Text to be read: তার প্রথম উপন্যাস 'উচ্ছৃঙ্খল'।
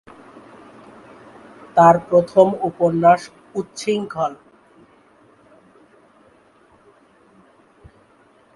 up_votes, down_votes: 1, 2